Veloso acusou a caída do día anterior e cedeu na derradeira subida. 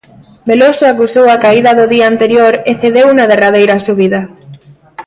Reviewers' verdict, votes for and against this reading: accepted, 2, 0